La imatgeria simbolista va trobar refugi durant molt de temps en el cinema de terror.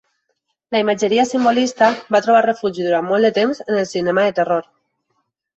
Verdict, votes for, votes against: accepted, 3, 1